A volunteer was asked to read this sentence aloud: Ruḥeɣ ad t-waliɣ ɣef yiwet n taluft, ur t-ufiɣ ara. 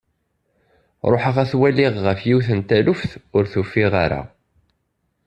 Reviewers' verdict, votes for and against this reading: accepted, 2, 0